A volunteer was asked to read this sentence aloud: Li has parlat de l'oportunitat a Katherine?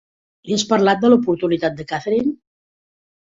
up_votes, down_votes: 2, 0